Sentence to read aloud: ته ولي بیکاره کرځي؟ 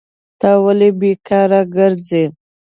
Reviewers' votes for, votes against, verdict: 2, 0, accepted